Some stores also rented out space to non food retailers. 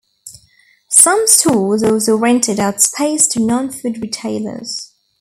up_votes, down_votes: 2, 0